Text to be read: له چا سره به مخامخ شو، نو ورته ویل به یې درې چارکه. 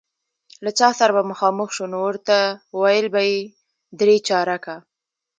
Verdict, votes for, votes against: accepted, 2, 0